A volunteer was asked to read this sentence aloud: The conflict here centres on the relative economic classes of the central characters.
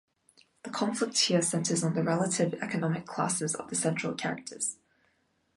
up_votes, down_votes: 2, 0